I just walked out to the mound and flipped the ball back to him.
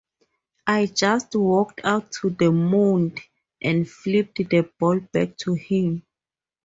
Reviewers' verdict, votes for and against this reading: rejected, 0, 2